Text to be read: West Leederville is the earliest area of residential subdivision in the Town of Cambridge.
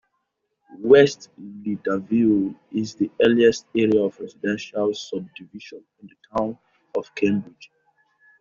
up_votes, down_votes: 1, 2